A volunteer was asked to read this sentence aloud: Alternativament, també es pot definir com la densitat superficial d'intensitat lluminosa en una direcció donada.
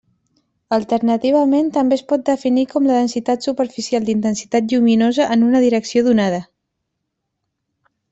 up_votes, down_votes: 0, 2